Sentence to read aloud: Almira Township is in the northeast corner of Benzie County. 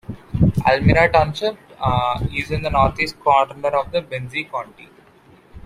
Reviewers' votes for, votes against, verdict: 0, 2, rejected